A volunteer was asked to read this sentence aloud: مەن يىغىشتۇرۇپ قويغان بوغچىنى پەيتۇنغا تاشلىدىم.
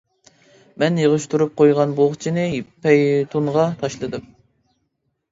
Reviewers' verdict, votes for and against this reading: rejected, 0, 2